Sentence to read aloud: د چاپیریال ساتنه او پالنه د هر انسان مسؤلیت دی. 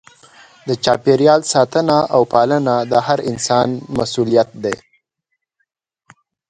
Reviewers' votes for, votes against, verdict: 0, 2, rejected